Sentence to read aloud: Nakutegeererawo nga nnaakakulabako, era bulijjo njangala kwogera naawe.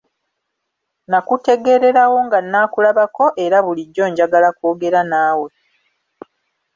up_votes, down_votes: 2, 0